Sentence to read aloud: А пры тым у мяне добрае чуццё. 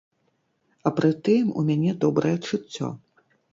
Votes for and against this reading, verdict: 2, 0, accepted